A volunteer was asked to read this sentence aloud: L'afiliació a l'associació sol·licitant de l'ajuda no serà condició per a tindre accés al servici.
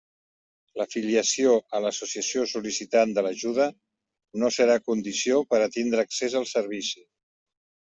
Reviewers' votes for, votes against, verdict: 2, 0, accepted